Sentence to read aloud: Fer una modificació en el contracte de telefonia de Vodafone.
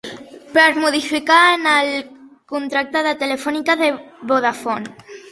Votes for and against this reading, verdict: 0, 3, rejected